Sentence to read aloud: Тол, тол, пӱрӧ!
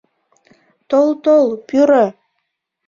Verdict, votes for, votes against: accepted, 2, 0